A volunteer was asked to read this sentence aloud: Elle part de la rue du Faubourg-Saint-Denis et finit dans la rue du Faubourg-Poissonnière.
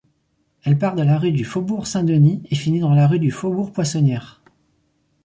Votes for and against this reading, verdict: 4, 0, accepted